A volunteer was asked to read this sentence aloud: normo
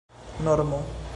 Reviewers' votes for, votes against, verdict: 2, 0, accepted